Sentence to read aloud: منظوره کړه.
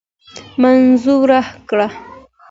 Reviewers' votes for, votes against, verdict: 2, 0, accepted